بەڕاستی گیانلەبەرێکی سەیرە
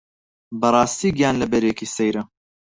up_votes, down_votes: 2, 4